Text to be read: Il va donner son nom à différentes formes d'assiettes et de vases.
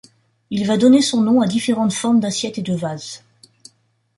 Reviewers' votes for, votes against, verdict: 2, 0, accepted